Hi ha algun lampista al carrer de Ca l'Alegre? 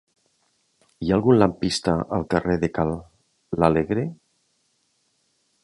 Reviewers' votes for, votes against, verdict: 1, 2, rejected